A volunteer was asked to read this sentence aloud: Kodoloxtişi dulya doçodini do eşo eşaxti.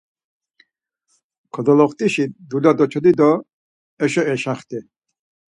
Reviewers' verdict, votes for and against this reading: rejected, 2, 4